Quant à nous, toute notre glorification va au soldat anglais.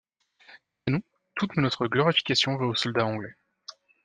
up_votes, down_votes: 1, 2